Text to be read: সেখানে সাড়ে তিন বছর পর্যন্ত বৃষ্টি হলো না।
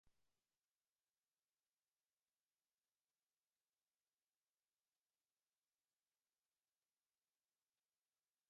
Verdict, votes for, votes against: rejected, 0, 2